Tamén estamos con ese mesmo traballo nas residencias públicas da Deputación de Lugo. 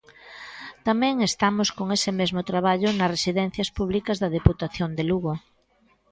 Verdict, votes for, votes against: accepted, 2, 0